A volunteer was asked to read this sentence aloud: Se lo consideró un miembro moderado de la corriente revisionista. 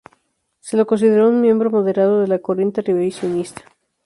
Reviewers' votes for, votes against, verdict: 0, 2, rejected